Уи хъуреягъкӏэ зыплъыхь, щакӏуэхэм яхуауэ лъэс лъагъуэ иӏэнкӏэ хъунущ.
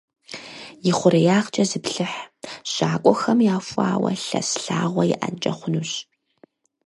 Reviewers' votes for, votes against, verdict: 0, 4, rejected